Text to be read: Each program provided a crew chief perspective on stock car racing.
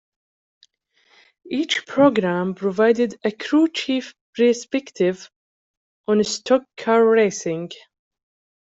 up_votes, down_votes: 0, 2